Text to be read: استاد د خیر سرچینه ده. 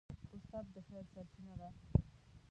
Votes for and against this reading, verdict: 0, 2, rejected